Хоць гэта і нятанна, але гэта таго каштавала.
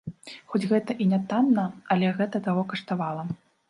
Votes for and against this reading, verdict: 2, 0, accepted